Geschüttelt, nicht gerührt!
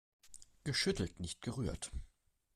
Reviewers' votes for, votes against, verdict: 2, 1, accepted